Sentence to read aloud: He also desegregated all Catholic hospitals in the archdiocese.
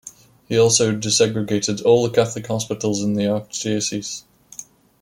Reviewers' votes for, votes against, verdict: 2, 0, accepted